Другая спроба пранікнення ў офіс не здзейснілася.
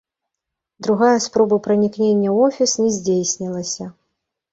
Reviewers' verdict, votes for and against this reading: accepted, 2, 1